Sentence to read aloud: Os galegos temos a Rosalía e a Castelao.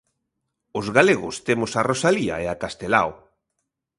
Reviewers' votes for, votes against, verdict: 2, 0, accepted